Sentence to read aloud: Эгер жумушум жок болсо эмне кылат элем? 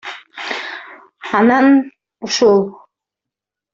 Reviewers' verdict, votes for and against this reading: rejected, 0, 2